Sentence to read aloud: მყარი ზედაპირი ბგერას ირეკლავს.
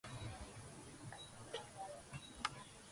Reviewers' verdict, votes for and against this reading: rejected, 0, 2